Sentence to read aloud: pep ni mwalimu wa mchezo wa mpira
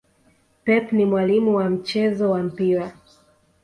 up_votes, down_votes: 2, 0